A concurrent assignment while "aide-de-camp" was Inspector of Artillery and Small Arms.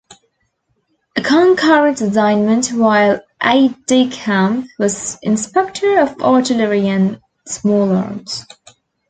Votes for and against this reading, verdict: 3, 1, accepted